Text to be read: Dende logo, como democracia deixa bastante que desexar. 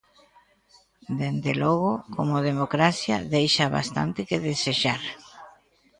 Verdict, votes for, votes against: rejected, 1, 2